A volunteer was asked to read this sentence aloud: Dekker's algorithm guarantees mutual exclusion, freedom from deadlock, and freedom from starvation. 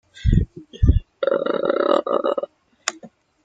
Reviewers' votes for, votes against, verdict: 0, 2, rejected